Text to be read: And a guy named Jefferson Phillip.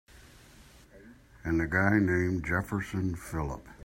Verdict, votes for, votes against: accepted, 2, 0